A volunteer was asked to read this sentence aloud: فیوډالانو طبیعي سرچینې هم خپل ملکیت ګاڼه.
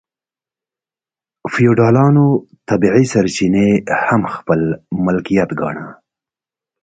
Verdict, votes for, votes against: accepted, 2, 0